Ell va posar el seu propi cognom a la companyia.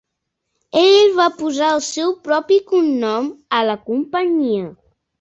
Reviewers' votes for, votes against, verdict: 2, 0, accepted